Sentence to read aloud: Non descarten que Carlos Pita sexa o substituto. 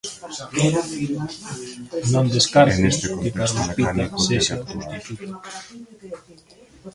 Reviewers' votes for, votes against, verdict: 1, 2, rejected